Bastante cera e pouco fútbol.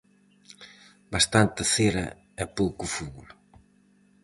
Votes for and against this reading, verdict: 2, 2, rejected